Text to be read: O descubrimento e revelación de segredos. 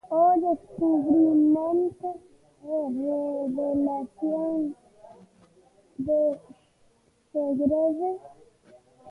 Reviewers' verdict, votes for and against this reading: rejected, 1, 2